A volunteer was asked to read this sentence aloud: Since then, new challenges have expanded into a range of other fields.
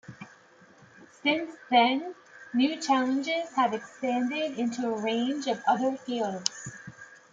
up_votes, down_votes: 2, 0